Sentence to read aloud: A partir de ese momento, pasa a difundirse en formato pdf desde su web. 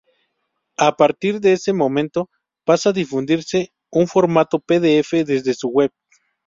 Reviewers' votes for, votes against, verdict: 2, 2, rejected